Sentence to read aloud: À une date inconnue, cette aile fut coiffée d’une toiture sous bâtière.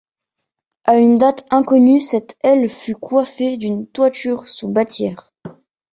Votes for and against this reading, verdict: 2, 0, accepted